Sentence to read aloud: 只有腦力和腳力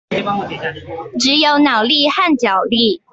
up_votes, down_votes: 1, 2